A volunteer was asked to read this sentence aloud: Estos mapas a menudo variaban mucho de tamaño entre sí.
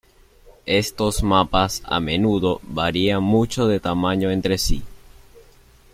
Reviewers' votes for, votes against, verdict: 1, 2, rejected